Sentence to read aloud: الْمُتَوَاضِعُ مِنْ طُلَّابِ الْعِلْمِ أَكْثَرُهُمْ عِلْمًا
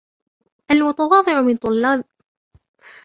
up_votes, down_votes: 0, 2